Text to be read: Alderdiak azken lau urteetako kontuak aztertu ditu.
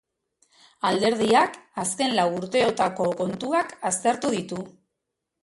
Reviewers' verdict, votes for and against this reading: rejected, 1, 2